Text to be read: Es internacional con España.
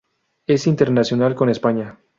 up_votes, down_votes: 4, 0